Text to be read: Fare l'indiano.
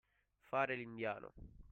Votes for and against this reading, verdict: 2, 0, accepted